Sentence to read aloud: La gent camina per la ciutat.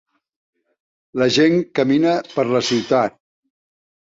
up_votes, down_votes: 3, 0